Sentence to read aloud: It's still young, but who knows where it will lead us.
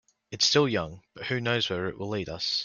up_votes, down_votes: 2, 0